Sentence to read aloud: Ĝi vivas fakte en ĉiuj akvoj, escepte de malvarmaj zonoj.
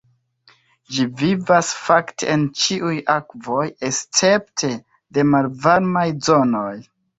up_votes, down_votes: 4, 3